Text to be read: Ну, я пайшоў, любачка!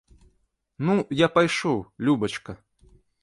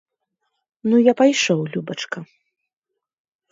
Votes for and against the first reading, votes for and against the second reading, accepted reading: 1, 2, 2, 0, second